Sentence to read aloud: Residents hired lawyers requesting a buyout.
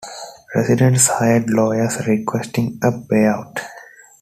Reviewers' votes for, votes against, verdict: 2, 1, accepted